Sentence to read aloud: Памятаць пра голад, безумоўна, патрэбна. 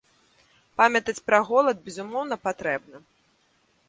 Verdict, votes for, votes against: accepted, 2, 0